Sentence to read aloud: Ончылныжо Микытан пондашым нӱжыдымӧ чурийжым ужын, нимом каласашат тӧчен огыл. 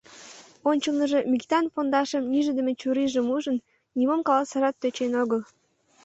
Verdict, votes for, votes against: rejected, 0, 2